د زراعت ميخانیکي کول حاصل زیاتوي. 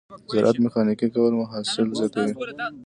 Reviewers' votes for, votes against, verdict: 2, 0, accepted